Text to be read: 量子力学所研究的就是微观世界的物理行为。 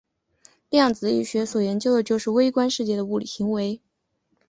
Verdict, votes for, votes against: accepted, 3, 1